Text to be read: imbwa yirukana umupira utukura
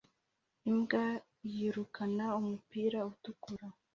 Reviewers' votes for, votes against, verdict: 2, 0, accepted